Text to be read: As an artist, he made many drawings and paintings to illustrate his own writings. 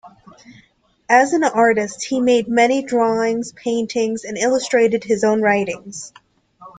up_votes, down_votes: 0, 2